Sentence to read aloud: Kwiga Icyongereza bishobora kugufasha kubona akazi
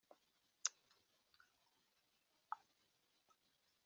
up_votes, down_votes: 0, 2